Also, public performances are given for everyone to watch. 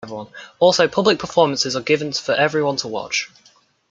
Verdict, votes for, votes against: rejected, 0, 2